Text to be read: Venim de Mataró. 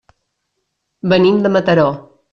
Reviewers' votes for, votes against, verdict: 3, 0, accepted